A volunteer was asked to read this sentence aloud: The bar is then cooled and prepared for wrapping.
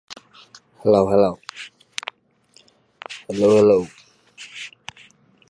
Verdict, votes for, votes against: rejected, 0, 2